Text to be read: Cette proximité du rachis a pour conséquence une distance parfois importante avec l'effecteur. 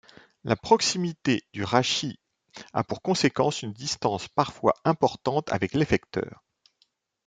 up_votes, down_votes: 1, 2